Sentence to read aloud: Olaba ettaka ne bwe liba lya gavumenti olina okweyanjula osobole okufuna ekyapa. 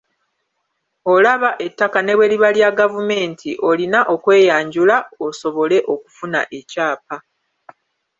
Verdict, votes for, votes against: accepted, 2, 0